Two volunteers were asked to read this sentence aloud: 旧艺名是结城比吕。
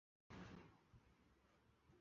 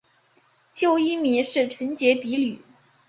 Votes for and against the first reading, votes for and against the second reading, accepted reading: 1, 2, 2, 0, second